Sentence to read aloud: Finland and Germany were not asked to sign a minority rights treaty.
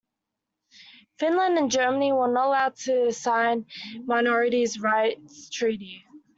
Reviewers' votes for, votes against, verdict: 1, 2, rejected